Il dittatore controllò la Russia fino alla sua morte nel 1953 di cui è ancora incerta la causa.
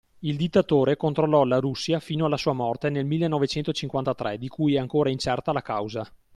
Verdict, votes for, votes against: rejected, 0, 2